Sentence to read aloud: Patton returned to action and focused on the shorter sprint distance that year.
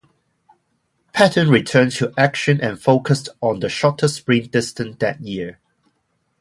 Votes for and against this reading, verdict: 0, 4, rejected